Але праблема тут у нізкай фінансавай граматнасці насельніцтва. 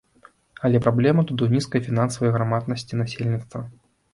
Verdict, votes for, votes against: rejected, 0, 2